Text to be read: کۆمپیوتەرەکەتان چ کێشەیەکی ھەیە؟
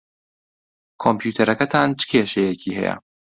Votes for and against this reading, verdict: 2, 0, accepted